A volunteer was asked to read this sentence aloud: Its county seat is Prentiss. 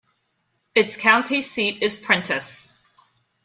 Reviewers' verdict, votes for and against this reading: accepted, 2, 0